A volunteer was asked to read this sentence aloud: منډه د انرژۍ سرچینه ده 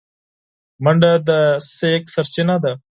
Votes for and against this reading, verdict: 4, 6, rejected